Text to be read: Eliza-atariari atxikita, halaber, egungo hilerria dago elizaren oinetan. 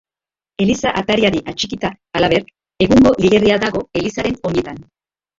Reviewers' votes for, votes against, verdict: 0, 2, rejected